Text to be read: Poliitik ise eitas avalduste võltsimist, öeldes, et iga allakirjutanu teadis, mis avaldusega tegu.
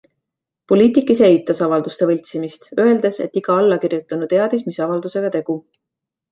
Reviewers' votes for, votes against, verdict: 2, 0, accepted